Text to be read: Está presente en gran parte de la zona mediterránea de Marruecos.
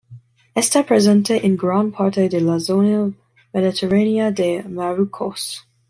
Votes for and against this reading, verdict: 1, 2, rejected